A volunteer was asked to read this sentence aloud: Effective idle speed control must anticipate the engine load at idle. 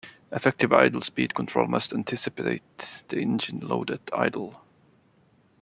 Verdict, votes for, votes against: accepted, 2, 1